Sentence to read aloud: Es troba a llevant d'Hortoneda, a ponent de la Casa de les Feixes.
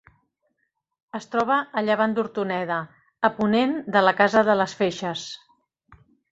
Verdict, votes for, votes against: accepted, 4, 0